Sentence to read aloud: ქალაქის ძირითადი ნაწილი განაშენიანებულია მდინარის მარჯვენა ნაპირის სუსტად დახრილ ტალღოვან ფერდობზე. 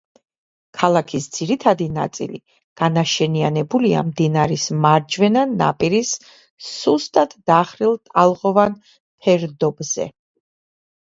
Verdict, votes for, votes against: accepted, 2, 0